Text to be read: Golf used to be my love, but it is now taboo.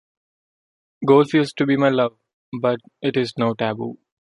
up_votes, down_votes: 1, 2